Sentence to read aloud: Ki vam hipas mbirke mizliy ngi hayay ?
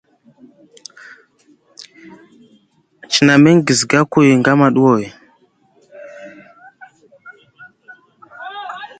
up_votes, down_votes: 1, 2